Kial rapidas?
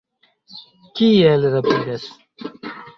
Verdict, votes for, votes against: rejected, 0, 2